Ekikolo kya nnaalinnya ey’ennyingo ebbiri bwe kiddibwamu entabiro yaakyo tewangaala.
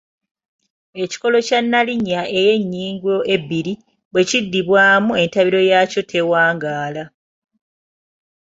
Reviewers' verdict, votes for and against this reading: accepted, 2, 0